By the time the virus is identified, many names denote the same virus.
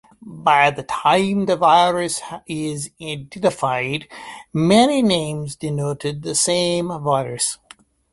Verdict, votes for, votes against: accepted, 2, 1